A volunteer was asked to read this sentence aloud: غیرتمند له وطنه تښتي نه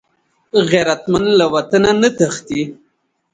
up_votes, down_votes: 1, 2